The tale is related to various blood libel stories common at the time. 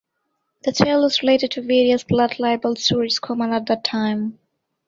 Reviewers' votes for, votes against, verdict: 2, 1, accepted